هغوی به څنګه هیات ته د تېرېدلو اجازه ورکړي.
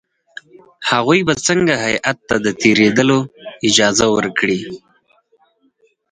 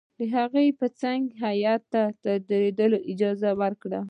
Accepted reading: second